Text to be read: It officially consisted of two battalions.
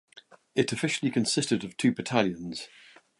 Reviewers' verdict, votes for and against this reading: accepted, 2, 0